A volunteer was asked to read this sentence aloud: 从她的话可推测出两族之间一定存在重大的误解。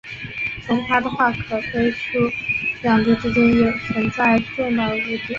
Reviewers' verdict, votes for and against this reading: rejected, 0, 4